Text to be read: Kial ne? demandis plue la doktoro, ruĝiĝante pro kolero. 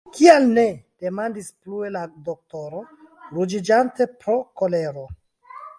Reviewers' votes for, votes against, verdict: 1, 2, rejected